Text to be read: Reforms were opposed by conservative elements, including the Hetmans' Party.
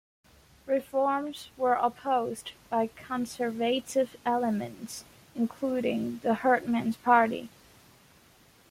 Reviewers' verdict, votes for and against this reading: rejected, 0, 2